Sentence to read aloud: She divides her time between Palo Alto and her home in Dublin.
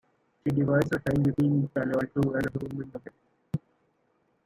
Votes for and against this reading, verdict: 0, 2, rejected